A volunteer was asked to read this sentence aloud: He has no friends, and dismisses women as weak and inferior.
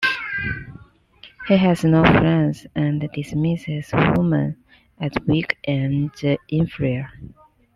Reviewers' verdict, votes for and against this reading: accepted, 2, 0